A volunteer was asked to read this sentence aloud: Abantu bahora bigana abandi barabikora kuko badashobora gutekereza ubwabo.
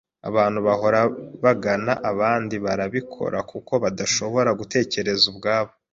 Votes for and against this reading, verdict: 1, 2, rejected